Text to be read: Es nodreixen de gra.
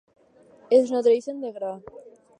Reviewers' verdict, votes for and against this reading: accepted, 4, 0